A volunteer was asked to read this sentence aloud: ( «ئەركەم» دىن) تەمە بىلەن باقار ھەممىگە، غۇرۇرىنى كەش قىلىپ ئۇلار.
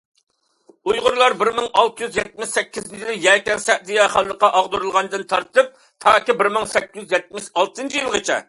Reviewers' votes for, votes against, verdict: 0, 2, rejected